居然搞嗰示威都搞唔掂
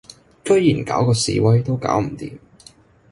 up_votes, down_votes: 0, 2